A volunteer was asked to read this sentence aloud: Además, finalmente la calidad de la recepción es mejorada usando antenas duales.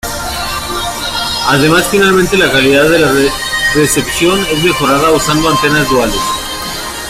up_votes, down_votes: 2, 1